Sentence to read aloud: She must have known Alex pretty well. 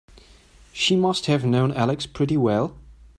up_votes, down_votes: 2, 0